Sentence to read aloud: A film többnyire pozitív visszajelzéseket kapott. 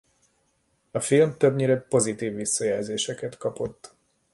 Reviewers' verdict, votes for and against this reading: accepted, 2, 0